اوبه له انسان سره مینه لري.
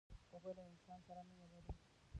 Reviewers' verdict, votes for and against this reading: rejected, 0, 2